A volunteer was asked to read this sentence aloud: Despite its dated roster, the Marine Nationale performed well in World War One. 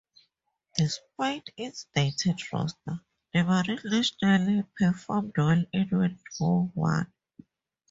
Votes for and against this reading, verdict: 4, 0, accepted